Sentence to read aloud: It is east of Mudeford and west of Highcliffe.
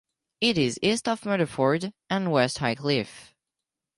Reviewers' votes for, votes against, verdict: 2, 6, rejected